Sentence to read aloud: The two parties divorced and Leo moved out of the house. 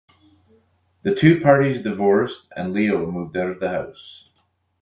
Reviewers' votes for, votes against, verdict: 4, 0, accepted